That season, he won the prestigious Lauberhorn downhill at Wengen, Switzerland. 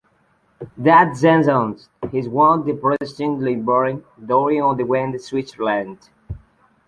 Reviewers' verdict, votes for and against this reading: rejected, 1, 3